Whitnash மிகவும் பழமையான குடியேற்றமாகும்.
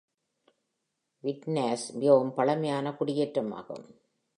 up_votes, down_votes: 2, 0